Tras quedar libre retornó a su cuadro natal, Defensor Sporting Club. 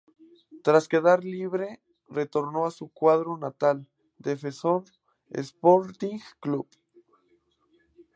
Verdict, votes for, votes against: accepted, 4, 2